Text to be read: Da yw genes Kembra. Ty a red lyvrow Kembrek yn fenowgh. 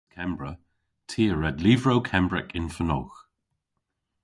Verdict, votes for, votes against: rejected, 0, 2